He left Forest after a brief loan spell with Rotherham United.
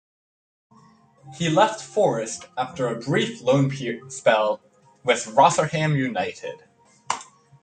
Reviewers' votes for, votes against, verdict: 2, 1, accepted